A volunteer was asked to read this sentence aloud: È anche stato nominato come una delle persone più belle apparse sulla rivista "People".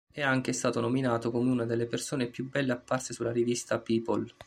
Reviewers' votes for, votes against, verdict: 2, 0, accepted